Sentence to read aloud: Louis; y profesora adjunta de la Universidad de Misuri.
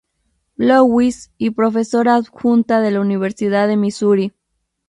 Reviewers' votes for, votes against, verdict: 2, 0, accepted